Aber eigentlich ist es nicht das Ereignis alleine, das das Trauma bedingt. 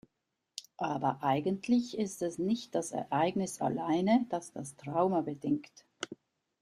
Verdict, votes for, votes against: accepted, 2, 0